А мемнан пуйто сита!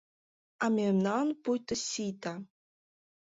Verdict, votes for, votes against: rejected, 1, 2